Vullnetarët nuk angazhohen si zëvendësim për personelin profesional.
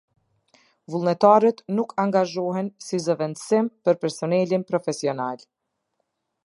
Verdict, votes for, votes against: accepted, 2, 0